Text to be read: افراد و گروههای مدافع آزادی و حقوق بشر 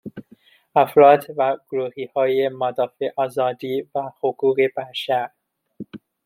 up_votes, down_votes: 2, 1